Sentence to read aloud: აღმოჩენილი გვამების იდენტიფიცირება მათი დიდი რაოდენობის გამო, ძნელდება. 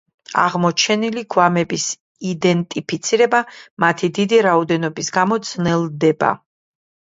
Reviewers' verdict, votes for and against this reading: rejected, 1, 2